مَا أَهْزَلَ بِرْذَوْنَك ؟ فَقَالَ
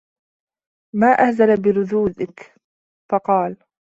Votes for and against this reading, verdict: 1, 2, rejected